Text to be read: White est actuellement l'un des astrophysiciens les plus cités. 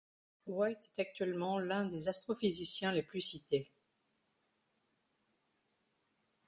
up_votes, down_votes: 1, 2